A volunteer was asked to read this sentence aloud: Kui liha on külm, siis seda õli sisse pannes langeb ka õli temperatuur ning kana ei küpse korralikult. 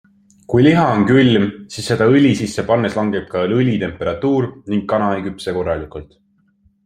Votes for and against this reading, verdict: 2, 0, accepted